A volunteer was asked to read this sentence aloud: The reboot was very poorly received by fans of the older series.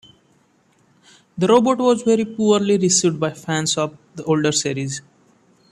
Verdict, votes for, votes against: rejected, 1, 2